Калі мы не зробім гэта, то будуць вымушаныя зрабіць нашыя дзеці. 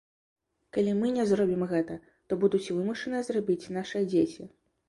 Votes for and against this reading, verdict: 2, 0, accepted